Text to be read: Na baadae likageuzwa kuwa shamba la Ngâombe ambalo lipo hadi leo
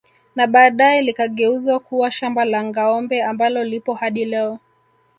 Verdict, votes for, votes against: rejected, 0, 2